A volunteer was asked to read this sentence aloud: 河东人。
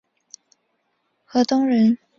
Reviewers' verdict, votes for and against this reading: accepted, 6, 1